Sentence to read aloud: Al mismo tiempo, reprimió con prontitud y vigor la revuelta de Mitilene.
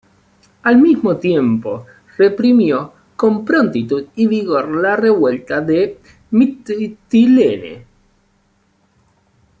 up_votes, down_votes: 1, 2